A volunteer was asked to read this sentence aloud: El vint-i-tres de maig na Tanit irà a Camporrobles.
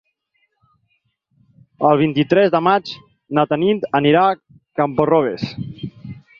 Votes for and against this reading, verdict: 0, 4, rejected